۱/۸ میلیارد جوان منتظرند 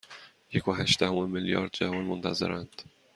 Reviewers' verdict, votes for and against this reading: rejected, 0, 2